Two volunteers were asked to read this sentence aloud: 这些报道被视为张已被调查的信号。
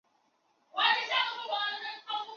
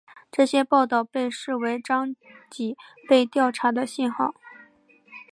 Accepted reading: second